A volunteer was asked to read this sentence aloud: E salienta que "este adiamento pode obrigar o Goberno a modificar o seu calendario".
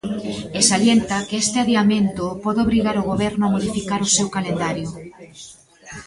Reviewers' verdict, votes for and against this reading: accepted, 2, 1